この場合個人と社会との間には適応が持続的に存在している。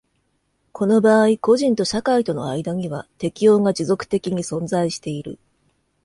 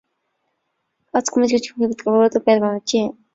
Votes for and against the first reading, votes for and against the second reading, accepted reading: 2, 0, 1, 2, first